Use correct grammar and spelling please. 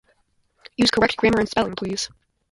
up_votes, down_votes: 0, 2